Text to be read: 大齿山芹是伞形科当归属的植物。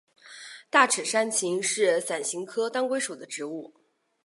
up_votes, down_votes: 3, 0